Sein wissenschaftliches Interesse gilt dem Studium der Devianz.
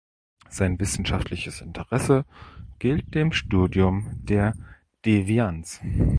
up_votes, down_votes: 2, 0